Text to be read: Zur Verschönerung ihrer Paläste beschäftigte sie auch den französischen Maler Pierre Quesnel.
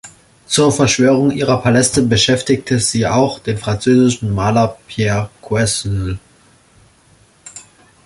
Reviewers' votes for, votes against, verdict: 0, 2, rejected